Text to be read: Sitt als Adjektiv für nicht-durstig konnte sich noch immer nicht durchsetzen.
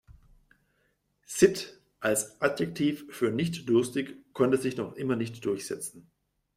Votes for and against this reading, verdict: 2, 0, accepted